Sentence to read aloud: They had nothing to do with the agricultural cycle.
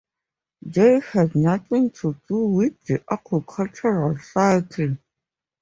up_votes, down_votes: 2, 0